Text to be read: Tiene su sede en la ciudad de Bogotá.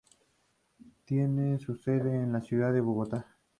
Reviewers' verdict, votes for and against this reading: accepted, 2, 0